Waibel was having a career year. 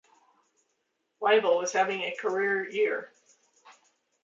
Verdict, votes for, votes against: accepted, 2, 1